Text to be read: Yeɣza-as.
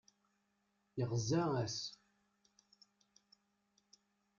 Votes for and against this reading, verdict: 2, 1, accepted